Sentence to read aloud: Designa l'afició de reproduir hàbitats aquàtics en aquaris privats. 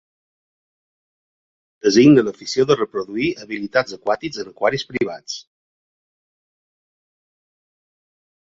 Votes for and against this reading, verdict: 1, 2, rejected